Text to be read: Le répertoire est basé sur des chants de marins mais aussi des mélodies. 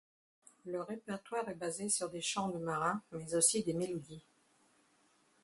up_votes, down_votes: 0, 2